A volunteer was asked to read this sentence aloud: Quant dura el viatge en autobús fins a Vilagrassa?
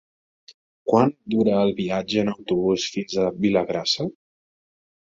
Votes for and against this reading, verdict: 3, 0, accepted